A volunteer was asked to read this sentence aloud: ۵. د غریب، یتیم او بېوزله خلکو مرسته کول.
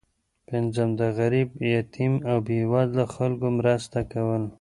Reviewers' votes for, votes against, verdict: 0, 2, rejected